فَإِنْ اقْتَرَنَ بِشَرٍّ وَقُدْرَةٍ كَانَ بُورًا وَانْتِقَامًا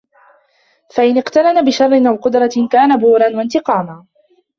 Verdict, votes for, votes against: rejected, 0, 2